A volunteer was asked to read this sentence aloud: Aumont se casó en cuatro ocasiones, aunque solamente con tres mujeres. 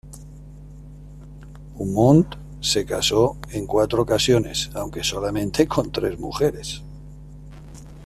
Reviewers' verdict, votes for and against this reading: accepted, 2, 1